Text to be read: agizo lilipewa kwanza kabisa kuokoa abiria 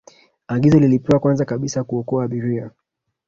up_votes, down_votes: 2, 1